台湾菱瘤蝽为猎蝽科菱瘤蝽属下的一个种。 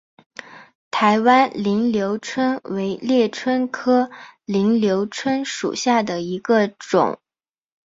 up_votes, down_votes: 3, 2